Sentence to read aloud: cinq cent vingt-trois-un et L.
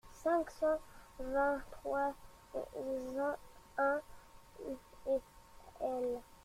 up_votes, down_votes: 1, 2